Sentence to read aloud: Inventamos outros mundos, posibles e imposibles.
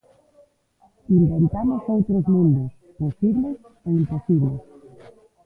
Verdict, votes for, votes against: rejected, 0, 2